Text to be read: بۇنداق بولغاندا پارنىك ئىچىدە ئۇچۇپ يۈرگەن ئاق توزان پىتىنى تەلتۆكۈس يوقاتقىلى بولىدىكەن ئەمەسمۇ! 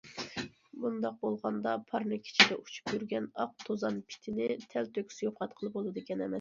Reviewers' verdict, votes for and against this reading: rejected, 0, 2